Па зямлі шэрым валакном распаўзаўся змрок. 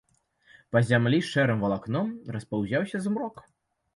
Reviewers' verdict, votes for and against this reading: rejected, 0, 2